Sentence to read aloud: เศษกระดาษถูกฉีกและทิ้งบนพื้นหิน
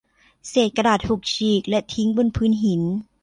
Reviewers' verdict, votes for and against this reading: accepted, 2, 0